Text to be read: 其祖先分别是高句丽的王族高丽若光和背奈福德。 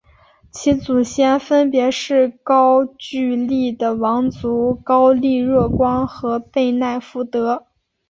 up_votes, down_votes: 4, 0